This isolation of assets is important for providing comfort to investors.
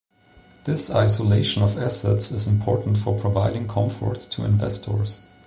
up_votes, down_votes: 2, 0